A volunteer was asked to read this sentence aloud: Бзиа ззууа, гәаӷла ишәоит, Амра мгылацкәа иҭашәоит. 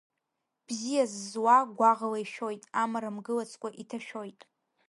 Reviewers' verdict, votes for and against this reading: rejected, 0, 2